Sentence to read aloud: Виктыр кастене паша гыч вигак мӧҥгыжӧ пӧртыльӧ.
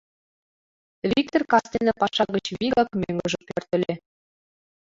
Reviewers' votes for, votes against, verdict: 2, 0, accepted